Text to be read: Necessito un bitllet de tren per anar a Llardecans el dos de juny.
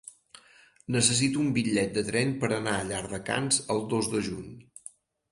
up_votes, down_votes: 4, 0